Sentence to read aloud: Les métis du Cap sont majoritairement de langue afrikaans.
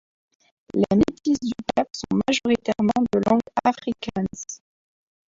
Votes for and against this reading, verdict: 1, 2, rejected